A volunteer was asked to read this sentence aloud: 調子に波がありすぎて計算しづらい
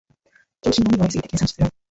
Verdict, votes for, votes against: rejected, 1, 2